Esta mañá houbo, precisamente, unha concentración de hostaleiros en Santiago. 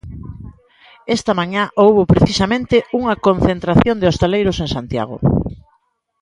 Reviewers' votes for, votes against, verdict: 21, 2, accepted